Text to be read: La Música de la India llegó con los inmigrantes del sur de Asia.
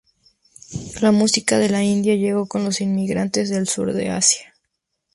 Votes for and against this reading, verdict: 2, 0, accepted